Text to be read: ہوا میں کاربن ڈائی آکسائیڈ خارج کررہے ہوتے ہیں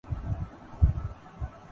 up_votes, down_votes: 2, 2